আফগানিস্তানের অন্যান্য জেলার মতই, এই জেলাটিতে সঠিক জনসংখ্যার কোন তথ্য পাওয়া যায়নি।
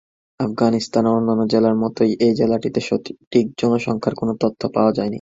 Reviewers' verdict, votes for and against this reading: rejected, 1, 3